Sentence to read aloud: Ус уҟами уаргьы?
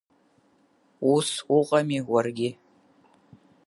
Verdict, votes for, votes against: accepted, 5, 0